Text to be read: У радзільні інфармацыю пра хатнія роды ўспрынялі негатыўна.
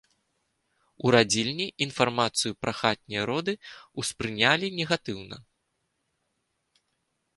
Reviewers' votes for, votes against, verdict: 2, 0, accepted